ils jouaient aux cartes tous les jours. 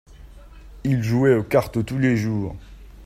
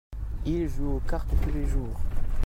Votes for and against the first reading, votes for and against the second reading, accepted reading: 2, 0, 0, 2, first